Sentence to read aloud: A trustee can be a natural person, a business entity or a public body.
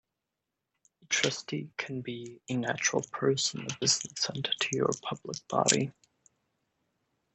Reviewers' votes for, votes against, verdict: 2, 3, rejected